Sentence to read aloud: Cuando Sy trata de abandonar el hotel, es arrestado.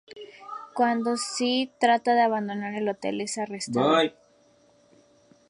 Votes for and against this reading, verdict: 0, 2, rejected